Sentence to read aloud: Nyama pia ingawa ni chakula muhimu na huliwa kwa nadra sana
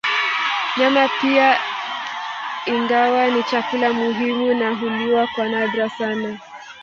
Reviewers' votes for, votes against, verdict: 0, 2, rejected